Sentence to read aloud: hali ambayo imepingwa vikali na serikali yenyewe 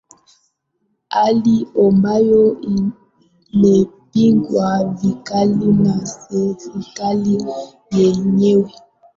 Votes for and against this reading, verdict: 0, 2, rejected